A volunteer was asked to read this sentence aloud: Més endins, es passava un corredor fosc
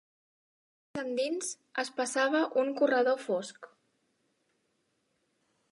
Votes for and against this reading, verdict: 1, 2, rejected